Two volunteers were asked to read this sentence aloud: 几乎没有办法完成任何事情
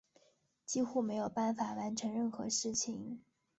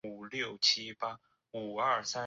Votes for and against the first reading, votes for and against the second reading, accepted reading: 5, 0, 0, 3, first